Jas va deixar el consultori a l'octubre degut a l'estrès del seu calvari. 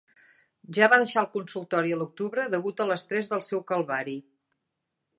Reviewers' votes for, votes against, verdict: 4, 0, accepted